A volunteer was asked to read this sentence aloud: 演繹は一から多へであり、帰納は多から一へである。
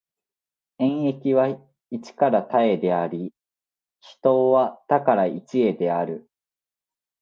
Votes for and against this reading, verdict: 2, 1, accepted